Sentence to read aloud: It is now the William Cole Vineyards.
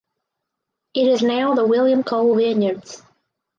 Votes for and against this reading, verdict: 4, 2, accepted